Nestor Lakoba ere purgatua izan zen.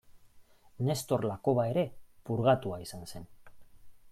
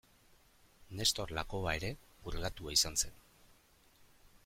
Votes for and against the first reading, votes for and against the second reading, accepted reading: 1, 2, 2, 0, second